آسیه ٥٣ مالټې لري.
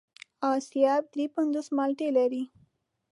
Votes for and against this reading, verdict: 0, 2, rejected